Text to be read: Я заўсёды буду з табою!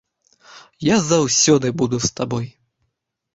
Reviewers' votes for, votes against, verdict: 1, 2, rejected